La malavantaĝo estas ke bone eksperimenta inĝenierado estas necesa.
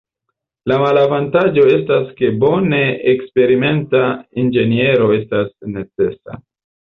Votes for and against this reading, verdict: 0, 4, rejected